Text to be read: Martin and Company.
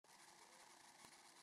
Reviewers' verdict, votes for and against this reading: rejected, 0, 2